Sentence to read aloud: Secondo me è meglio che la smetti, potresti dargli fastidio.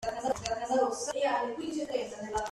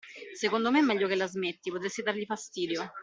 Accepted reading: second